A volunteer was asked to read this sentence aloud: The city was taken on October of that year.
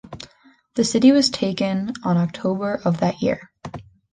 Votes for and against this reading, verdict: 2, 1, accepted